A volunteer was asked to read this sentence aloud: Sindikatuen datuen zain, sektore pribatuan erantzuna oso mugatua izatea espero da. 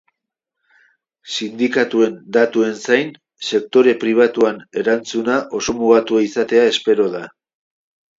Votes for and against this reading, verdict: 2, 0, accepted